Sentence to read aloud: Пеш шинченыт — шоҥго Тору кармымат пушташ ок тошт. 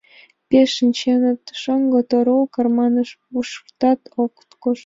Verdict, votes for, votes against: accepted, 2, 0